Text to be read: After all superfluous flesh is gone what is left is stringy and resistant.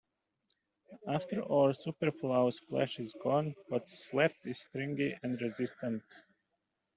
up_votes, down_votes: 0, 2